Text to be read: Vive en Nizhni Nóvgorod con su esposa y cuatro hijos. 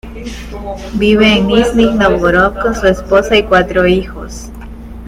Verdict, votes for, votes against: rejected, 0, 2